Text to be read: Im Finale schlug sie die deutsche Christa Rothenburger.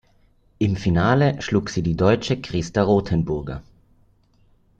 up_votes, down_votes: 2, 0